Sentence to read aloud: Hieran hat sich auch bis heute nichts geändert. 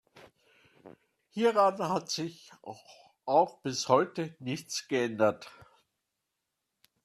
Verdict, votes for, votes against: rejected, 0, 2